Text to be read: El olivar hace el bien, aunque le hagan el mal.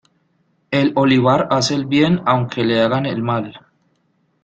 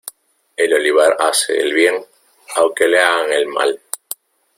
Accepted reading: first